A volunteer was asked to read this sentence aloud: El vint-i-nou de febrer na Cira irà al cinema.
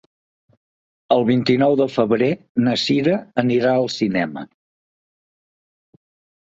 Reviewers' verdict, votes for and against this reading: rejected, 2, 4